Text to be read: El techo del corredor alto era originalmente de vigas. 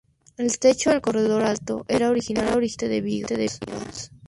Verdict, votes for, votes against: rejected, 0, 2